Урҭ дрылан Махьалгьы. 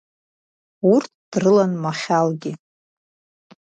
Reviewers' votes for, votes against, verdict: 2, 0, accepted